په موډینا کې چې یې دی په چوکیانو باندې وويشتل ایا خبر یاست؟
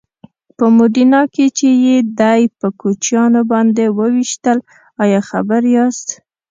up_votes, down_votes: 1, 2